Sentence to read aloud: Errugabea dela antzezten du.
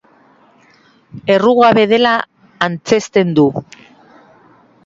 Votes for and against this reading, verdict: 0, 3, rejected